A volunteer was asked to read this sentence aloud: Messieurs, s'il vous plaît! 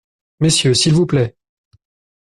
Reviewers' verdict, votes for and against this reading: accepted, 2, 0